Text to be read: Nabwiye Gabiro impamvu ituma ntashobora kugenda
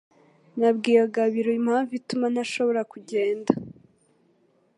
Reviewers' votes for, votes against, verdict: 3, 0, accepted